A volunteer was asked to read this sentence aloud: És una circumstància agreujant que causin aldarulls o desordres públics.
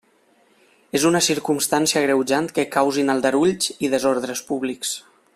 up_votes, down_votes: 2, 0